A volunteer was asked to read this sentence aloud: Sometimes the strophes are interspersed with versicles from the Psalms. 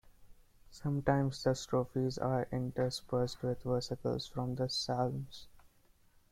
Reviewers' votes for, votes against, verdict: 0, 2, rejected